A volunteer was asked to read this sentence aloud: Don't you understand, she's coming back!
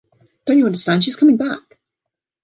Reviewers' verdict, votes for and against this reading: accepted, 2, 0